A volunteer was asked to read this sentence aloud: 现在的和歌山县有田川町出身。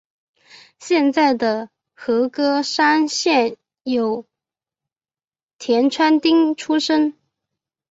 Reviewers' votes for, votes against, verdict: 3, 0, accepted